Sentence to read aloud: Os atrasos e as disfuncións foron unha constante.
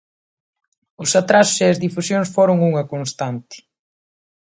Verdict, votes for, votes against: rejected, 1, 2